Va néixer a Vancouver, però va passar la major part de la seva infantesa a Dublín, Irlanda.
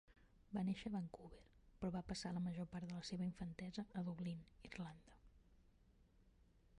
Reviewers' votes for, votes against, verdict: 0, 2, rejected